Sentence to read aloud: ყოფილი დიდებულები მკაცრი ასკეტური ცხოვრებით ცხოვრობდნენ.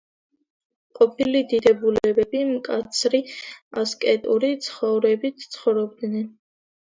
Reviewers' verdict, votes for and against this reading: accepted, 2, 0